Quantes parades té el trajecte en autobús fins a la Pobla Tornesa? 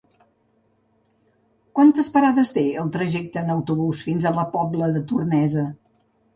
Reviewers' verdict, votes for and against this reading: rejected, 1, 2